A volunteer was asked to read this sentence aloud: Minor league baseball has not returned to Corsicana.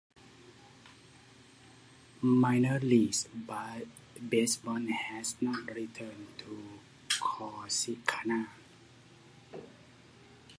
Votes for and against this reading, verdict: 0, 2, rejected